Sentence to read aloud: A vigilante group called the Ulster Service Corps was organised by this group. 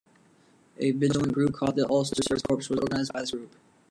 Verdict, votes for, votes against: rejected, 1, 2